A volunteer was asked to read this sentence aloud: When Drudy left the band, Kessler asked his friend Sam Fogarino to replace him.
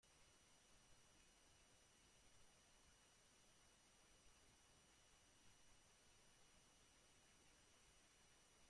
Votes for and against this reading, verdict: 0, 2, rejected